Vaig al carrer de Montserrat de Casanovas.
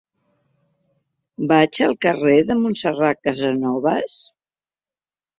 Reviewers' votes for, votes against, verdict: 0, 2, rejected